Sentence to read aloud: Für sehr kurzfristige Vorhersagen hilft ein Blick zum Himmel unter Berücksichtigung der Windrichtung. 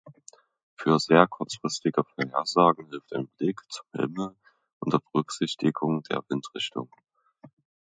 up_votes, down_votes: 1, 2